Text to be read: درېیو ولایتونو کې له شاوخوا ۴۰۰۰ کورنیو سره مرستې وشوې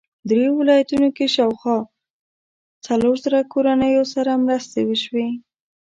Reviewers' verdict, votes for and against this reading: rejected, 0, 2